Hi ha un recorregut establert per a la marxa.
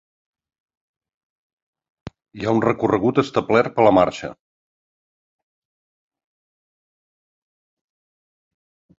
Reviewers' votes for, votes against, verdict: 1, 2, rejected